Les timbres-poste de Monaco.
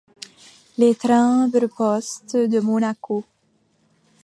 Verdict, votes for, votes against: rejected, 0, 2